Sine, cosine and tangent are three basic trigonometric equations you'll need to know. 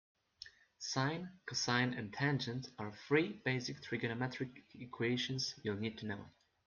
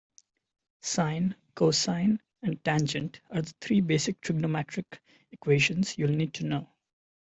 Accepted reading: second